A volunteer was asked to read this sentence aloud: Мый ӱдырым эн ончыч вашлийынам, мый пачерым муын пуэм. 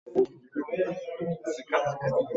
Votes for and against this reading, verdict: 1, 2, rejected